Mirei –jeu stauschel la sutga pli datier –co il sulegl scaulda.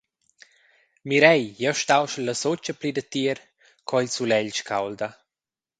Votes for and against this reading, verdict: 0, 2, rejected